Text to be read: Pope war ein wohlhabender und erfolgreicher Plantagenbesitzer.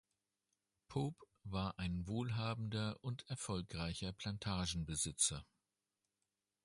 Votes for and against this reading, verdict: 3, 0, accepted